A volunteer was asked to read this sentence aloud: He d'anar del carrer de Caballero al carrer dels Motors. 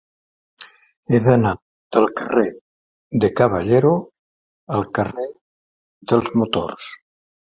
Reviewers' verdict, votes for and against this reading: accepted, 4, 0